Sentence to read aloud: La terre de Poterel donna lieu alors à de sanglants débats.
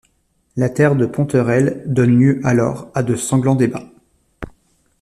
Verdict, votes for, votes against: rejected, 0, 2